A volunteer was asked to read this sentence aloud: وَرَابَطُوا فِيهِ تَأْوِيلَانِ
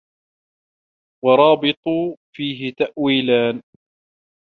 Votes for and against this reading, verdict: 1, 2, rejected